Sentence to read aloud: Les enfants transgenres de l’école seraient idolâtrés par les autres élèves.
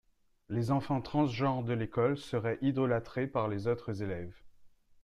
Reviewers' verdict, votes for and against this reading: accepted, 2, 0